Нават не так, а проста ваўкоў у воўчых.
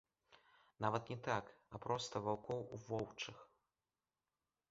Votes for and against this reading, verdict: 2, 0, accepted